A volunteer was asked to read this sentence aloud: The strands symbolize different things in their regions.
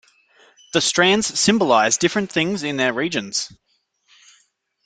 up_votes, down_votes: 2, 0